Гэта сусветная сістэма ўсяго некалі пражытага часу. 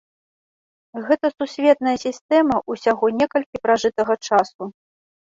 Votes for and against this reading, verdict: 0, 2, rejected